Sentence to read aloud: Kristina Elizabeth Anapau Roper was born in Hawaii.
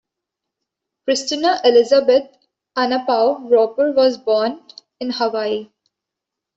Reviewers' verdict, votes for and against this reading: accepted, 2, 0